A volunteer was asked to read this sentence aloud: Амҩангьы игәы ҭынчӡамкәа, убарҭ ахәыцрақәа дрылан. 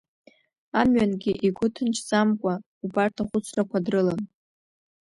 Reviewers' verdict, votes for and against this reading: rejected, 0, 2